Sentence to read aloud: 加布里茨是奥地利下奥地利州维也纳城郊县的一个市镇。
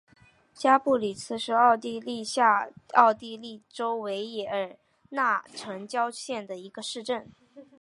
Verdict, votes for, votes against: accepted, 4, 0